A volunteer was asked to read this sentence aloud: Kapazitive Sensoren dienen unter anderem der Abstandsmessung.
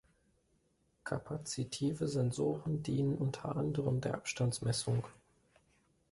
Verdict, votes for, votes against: accepted, 2, 0